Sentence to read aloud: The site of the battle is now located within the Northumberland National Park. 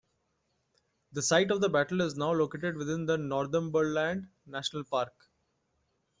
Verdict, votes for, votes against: accepted, 2, 0